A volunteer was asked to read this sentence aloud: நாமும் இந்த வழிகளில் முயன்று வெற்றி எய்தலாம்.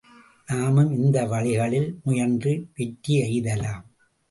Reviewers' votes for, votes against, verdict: 2, 0, accepted